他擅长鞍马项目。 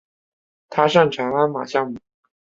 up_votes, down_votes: 5, 0